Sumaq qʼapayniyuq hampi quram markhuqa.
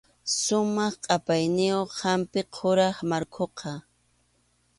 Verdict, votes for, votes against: accepted, 2, 0